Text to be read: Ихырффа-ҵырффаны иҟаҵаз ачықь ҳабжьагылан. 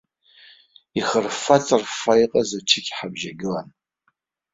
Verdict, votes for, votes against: accepted, 2, 0